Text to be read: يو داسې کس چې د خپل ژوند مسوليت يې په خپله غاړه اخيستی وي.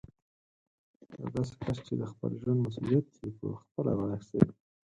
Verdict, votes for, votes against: rejected, 2, 4